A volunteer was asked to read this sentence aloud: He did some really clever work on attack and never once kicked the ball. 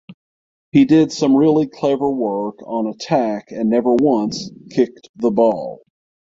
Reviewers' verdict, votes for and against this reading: accepted, 6, 3